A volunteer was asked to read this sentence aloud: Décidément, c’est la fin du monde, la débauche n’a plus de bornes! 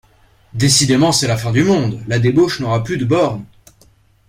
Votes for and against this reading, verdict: 0, 2, rejected